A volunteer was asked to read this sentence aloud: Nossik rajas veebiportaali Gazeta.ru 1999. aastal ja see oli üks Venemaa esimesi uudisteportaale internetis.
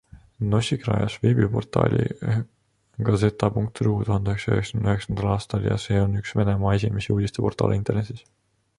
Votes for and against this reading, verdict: 0, 2, rejected